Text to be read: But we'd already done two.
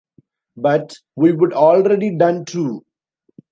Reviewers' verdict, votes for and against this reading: rejected, 0, 2